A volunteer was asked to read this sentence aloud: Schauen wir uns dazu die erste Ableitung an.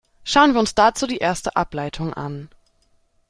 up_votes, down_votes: 2, 0